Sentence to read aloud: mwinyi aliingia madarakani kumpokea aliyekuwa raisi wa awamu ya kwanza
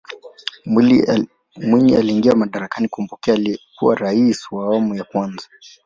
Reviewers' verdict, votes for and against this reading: rejected, 0, 2